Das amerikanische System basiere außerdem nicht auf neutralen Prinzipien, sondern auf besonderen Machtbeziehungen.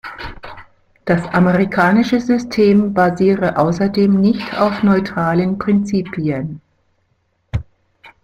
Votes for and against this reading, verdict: 0, 2, rejected